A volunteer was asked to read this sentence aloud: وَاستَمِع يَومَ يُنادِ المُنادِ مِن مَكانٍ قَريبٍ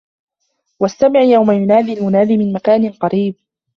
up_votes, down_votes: 2, 0